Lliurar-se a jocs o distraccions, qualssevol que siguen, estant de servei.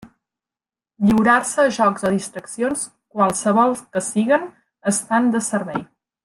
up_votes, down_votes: 1, 2